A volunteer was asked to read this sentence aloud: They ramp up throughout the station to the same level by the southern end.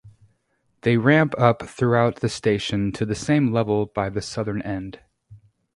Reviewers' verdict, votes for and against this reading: rejected, 2, 2